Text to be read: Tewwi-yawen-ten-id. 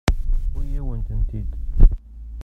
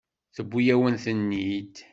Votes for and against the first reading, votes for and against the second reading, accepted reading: 1, 2, 2, 0, second